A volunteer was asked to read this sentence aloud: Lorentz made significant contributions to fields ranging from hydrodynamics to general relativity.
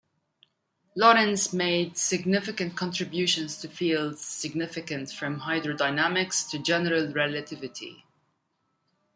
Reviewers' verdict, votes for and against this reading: rejected, 1, 2